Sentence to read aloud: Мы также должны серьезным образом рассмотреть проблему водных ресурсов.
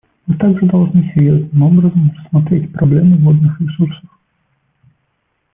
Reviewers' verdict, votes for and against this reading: accepted, 2, 1